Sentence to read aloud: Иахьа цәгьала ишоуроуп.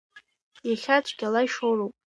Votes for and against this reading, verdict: 2, 0, accepted